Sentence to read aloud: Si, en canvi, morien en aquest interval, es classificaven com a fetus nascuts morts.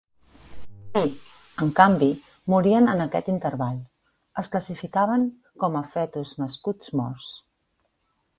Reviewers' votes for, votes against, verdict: 1, 2, rejected